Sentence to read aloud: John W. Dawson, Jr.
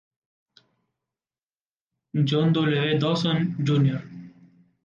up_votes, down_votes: 2, 0